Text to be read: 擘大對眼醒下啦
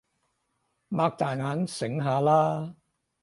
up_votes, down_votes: 2, 6